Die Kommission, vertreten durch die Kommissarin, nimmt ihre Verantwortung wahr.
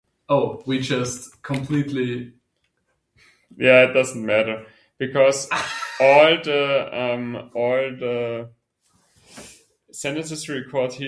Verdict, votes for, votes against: rejected, 0, 2